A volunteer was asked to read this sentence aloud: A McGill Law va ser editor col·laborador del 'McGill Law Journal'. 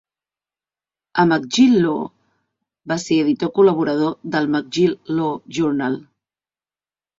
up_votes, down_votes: 2, 0